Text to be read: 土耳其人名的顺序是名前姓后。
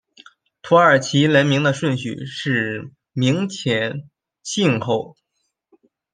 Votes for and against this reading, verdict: 1, 2, rejected